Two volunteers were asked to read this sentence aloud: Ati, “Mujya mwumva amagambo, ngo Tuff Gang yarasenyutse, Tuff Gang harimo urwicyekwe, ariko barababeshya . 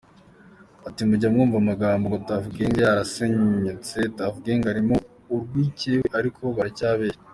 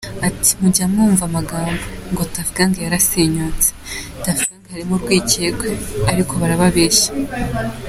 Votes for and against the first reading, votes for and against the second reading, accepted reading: 1, 2, 2, 0, second